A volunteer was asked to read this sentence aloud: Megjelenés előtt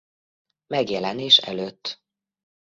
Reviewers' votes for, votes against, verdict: 2, 0, accepted